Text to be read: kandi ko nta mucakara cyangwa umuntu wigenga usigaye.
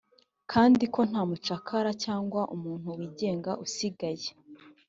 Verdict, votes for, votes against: accepted, 2, 0